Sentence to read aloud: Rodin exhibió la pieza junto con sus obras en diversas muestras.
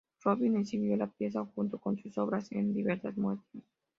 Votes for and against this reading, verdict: 2, 0, accepted